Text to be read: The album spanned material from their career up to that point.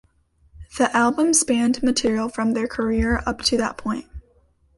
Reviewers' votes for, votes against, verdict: 2, 0, accepted